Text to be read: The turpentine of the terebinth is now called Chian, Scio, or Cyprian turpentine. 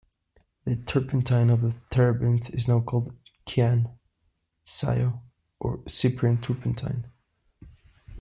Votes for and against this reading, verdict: 2, 0, accepted